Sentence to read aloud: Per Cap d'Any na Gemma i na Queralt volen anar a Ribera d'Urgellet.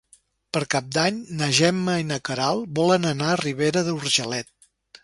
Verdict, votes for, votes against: rejected, 2, 4